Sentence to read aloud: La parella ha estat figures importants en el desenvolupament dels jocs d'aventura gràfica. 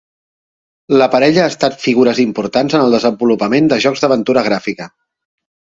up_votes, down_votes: 2, 0